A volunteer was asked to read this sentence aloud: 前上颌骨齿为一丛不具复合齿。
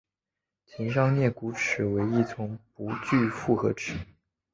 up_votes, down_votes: 2, 0